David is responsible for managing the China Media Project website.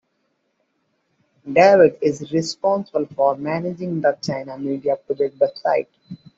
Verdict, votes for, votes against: accepted, 2, 0